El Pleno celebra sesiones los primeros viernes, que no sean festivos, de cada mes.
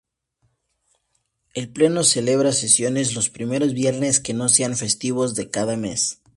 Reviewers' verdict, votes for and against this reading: accepted, 2, 0